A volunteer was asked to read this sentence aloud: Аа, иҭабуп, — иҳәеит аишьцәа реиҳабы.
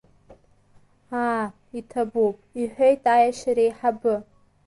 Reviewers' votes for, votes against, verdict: 0, 2, rejected